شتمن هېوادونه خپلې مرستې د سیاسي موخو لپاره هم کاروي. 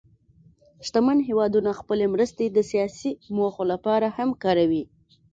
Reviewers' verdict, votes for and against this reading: accepted, 2, 0